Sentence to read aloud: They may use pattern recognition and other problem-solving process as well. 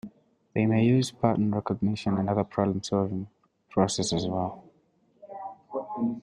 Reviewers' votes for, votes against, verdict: 1, 2, rejected